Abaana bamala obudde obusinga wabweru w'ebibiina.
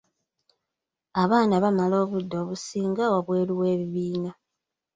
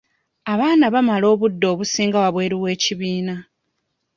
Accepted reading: first